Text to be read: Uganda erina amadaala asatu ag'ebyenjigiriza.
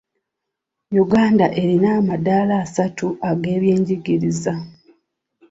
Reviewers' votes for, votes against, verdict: 2, 0, accepted